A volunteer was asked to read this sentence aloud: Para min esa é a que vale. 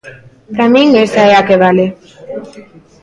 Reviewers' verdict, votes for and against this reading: rejected, 1, 2